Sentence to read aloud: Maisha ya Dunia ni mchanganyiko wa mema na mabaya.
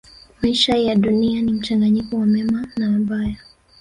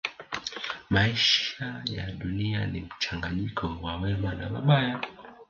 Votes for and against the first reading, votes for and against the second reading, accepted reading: 1, 2, 2, 1, second